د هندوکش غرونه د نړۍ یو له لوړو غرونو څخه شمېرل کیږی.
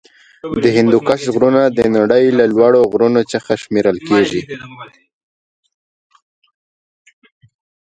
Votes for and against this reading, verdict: 1, 2, rejected